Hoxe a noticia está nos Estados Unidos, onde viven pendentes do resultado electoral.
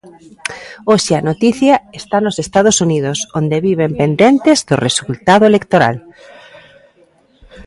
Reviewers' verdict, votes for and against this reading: rejected, 1, 2